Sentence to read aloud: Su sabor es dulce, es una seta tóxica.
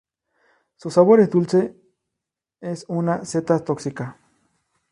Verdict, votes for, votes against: rejected, 0, 2